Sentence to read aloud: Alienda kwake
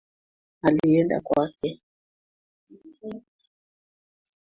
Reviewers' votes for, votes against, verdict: 1, 2, rejected